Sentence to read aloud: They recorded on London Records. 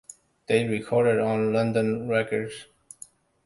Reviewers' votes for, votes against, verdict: 2, 0, accepted